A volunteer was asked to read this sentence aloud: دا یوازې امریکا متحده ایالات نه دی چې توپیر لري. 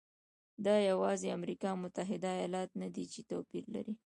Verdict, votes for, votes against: rejected, 0, 2